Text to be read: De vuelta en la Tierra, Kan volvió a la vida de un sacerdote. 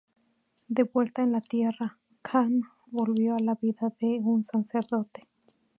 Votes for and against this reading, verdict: 2, 0, accepted